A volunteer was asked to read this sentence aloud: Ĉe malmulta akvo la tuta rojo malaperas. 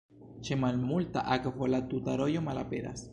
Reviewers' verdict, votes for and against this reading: rejected, 1, 2